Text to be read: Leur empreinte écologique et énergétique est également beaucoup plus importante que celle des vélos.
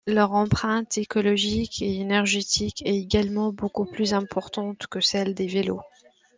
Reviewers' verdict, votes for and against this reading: accepted, 2, 0